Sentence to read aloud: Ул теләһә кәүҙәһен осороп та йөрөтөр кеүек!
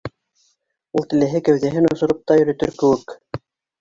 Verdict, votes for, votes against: rejected, 1, 2